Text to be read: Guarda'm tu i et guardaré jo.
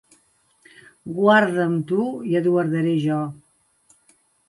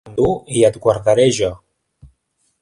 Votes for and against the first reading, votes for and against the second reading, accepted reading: 2, 0, 0, 2, first